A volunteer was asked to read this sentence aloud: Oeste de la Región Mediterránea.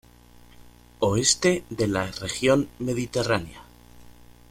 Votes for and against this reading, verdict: 3, 1, accepted